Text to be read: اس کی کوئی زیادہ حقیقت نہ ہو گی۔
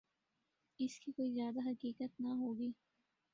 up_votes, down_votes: 3, 0